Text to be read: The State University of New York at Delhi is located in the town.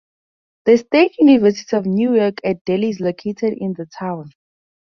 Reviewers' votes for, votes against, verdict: 4, 0, accepted